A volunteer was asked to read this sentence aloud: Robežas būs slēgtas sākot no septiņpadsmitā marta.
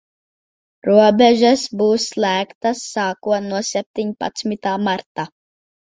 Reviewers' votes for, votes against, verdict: 4, 0, accepted